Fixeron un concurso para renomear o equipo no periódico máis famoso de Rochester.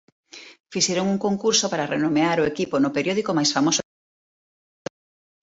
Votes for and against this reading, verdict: 1, 2, rejected